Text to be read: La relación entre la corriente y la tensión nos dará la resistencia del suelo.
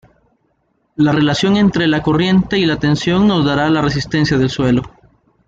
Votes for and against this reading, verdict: 2, 0, accepted